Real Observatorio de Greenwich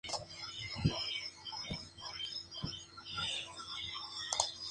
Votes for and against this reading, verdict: 0, 2, rejected